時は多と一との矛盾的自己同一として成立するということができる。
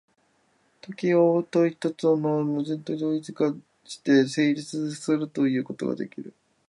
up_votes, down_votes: 0, 3